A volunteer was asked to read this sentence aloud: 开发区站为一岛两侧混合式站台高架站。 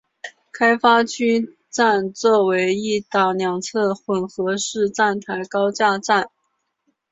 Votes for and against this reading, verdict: 2, 0, accepted